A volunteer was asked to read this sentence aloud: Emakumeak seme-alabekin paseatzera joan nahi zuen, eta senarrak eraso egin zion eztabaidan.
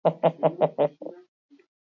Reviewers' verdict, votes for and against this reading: rejected, 0, 8